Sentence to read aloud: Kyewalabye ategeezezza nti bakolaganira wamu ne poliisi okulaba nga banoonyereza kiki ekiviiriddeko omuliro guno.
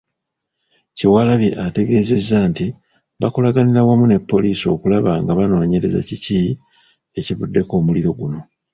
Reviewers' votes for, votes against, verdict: 0, 2, rejected